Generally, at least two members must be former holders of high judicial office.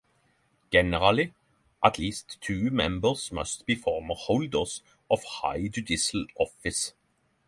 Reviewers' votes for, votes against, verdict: 0, 3, rejected